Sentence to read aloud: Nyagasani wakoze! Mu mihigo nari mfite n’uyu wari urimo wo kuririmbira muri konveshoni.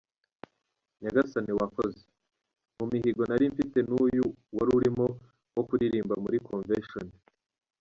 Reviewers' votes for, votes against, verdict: 0, 2, rejected